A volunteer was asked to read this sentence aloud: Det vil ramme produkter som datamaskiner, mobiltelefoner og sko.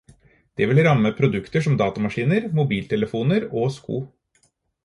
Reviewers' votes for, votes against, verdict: 4, 0, accepted